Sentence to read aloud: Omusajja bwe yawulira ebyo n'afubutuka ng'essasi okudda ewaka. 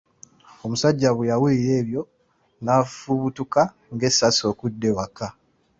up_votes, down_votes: 2, 0